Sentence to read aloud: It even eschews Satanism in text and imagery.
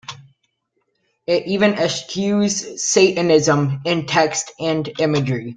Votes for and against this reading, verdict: 2, 1, accepted